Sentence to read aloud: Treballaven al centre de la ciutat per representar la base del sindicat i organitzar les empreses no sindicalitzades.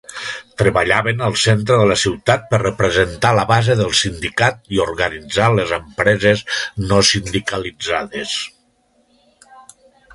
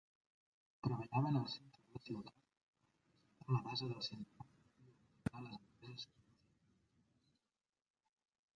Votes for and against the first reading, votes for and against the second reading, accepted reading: 3, 0, 0, 2, first